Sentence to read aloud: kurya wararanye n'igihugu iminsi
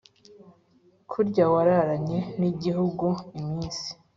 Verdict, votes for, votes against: accepted, 2, 1